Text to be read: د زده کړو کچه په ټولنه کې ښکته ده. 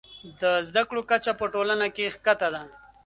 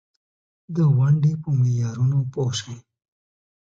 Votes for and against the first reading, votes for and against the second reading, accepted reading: 2, 0, 0, 2, first